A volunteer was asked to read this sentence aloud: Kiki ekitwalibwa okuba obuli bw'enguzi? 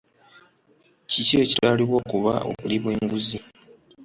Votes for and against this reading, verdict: 2, 0, accepted